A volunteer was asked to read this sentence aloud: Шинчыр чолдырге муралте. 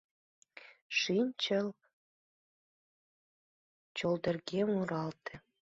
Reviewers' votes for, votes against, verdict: 1, 2, rejected